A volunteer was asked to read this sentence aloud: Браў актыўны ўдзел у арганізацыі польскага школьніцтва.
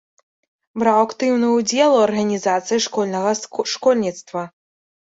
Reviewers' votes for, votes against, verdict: 0, 2, rejected